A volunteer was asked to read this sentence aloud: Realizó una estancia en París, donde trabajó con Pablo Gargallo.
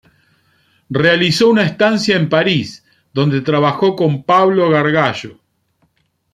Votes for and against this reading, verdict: 2, 0, accepted